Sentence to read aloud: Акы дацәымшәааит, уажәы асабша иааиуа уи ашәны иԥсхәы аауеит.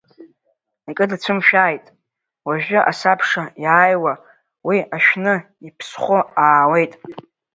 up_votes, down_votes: 1, 2